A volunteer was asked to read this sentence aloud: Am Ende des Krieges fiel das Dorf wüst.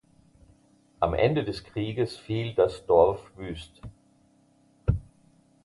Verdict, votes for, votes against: accepted, 2, 0